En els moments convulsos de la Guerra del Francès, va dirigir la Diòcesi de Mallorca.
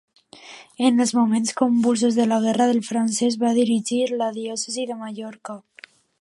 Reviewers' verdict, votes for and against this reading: accepted, 2, 0